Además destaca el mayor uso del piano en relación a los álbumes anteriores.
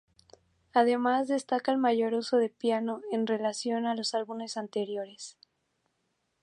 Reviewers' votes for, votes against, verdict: 2, 0, accepted